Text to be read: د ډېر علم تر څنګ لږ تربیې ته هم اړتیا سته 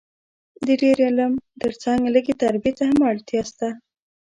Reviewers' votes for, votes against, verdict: 2, 0, accepted